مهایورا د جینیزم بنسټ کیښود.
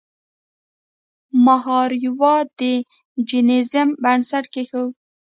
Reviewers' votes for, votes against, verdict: 1, 2, rejected